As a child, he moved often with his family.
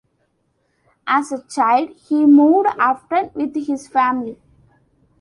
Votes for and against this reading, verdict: 1, 2, rejected